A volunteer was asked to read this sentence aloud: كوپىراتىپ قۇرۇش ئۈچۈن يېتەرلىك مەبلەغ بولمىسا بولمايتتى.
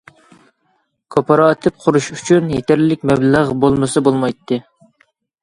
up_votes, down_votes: 2, 0